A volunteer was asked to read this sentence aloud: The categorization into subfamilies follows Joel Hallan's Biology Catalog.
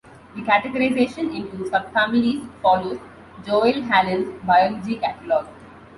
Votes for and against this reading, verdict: 2, 0, accepted